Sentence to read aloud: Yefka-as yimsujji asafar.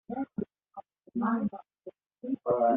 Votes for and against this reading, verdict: 0, 2, rejected